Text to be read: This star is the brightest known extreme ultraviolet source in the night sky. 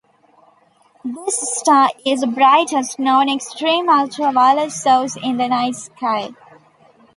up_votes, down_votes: 0, 2